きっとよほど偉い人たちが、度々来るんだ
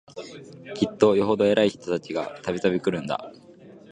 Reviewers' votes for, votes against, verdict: 3, 0, accepted